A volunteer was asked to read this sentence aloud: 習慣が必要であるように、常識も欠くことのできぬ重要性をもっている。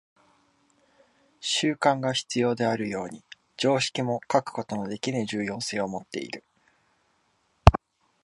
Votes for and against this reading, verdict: 2, 0, accepted